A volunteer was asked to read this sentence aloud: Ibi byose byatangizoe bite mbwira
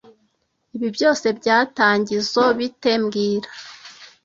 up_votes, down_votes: 2, 0